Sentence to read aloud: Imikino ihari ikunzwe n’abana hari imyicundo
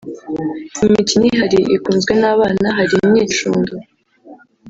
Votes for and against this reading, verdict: 2, 0, accepted